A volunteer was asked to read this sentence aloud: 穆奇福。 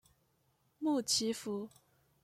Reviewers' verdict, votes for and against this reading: accepted, 2, 0